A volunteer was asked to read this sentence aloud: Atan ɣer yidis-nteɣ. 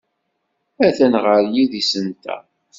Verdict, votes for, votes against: accepted, 2, 0